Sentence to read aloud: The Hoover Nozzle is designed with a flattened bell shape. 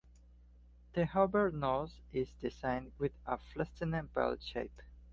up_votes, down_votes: 1, 2